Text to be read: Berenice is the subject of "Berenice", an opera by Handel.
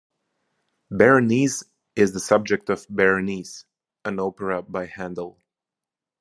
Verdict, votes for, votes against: accepted, 2, 0